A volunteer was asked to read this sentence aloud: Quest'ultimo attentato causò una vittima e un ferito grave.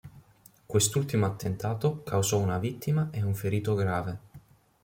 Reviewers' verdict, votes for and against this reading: accepted, 2, 0